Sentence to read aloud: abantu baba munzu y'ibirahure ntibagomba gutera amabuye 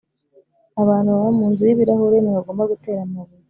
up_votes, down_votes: 2, 0